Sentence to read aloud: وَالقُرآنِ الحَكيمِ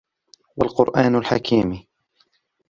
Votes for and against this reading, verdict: 0, 2, rejected